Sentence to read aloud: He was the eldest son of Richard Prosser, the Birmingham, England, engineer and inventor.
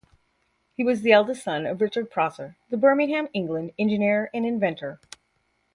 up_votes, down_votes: 2, 0